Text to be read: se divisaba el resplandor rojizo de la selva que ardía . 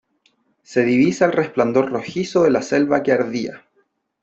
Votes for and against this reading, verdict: 1, 2, rejected